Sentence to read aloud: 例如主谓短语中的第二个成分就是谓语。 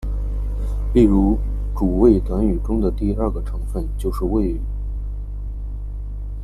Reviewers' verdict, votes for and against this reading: accepted, 2, 0